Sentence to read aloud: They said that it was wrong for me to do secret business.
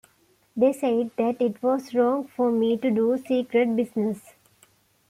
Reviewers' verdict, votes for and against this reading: accepted, 2, 0